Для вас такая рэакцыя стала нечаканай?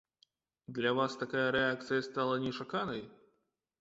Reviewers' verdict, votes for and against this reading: accepted, 2, 0